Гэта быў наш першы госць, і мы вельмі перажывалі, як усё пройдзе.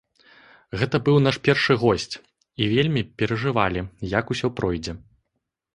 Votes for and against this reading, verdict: 0, 2, rejected